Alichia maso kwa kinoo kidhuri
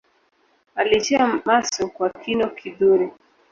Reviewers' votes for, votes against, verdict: 1, 2, rejected